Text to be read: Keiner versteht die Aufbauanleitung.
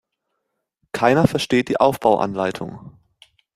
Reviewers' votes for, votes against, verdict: 2, 0, accepted